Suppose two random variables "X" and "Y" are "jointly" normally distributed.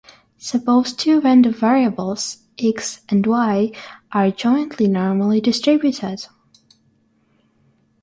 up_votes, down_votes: 6, 0